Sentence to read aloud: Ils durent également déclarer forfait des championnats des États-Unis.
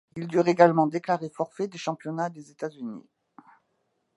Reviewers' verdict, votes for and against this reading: accepted, 2, 0